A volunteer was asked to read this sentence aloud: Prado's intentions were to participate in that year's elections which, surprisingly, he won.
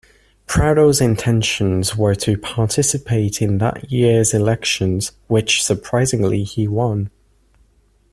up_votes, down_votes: 2, 0